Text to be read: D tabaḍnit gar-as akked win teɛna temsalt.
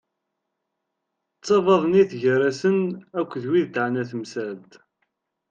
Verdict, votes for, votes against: rejected, 0, 2